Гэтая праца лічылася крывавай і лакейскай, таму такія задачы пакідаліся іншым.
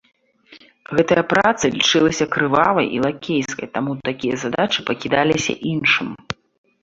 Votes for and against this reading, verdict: 2, 0, accepted